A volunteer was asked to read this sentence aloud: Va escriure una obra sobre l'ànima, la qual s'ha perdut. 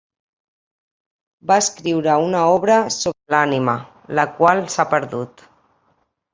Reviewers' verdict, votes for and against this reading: rejected, 1, 2